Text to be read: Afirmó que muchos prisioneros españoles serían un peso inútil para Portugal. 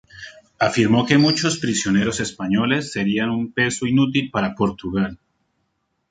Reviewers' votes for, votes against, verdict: 2, 0, accepted